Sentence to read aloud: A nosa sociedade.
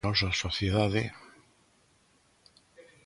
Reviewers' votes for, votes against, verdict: 0, 2, rejected